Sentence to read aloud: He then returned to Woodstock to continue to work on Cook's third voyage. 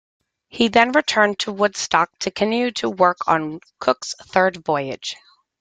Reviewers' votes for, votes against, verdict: 0, 2, rejected